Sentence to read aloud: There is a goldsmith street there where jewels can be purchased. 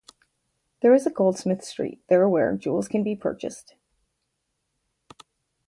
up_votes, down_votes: 2, 2